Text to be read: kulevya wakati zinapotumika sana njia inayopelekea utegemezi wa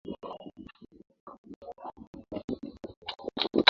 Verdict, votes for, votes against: rejected, 0, 2